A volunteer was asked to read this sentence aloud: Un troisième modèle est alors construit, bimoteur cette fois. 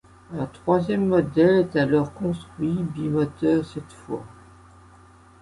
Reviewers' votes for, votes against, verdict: 2, 0, accepted